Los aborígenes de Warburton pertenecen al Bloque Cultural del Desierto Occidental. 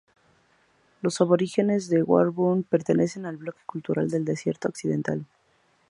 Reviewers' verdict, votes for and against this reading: rejected, 0, 2